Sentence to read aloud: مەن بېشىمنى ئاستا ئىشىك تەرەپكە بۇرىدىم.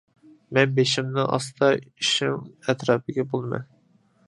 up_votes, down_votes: 0, 2